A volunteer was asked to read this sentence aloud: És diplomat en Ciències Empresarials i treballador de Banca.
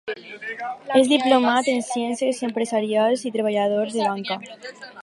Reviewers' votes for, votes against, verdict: 4, 2, accepted